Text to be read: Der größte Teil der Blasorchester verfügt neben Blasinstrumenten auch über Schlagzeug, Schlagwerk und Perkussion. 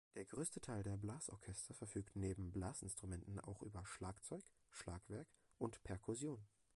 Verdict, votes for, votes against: rejected, 1, 2